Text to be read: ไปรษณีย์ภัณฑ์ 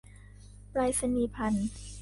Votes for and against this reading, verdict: 3, 0, accepted